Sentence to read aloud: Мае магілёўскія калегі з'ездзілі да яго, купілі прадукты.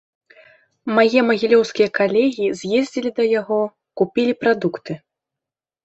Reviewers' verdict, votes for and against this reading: rejected, 1, 2